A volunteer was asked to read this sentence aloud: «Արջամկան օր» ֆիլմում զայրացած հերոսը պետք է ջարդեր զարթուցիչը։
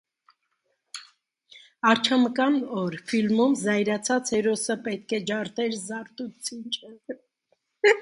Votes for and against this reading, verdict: 0, 2, rejected